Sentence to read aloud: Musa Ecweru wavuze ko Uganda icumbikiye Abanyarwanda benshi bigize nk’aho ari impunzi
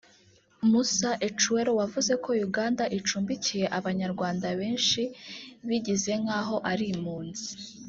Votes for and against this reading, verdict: 2, 1, accepted